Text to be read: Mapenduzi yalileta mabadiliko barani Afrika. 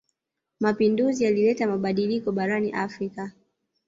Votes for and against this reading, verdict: 1, 2, rejected